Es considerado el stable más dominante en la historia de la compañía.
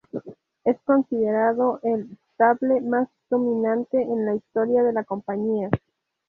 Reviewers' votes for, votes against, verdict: 2, 2, rejected